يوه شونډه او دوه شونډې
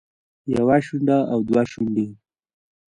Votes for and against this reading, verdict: 0, 2, rejected